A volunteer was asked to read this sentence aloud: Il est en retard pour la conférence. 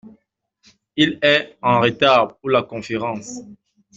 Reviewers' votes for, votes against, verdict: 2, 0, accepted